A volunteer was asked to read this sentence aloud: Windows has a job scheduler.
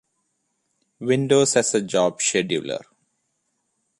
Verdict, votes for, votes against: accepted, 2, 0